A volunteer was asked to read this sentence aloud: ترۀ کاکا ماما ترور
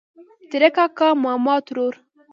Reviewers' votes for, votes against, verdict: 2, 0, accepted